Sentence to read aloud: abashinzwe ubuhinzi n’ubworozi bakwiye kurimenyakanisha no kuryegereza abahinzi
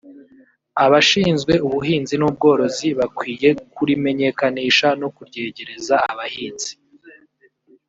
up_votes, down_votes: 0, 2